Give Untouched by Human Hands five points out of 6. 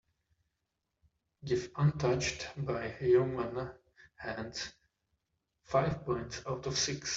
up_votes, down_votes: 0, 2